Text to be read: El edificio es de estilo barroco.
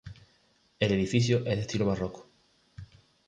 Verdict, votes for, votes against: accepted, 2, 0